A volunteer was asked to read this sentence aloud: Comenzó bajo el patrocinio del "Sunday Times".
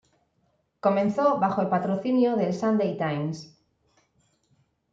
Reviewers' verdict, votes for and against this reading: accepted, 2, 0